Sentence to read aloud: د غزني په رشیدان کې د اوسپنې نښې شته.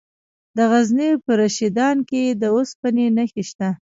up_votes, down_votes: 1, 2